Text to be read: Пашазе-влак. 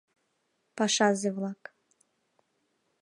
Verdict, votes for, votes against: accepted, 2, 0